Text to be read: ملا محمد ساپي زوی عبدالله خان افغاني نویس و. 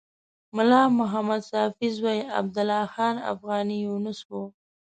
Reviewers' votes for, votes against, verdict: 1, 2, rejected